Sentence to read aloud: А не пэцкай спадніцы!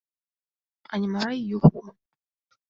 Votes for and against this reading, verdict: 0, 2, rejected